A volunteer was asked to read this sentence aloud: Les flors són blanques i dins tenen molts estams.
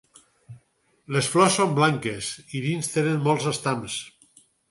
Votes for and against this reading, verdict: 4, 0, accepted